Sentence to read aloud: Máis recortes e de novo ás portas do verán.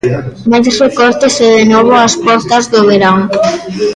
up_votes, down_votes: 1, 2